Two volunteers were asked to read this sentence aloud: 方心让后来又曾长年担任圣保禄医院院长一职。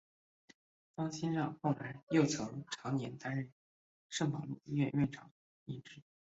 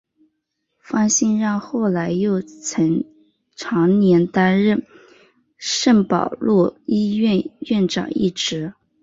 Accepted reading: second